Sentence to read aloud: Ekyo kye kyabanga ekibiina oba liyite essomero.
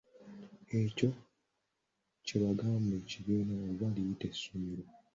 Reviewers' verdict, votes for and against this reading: rejected, 1, 2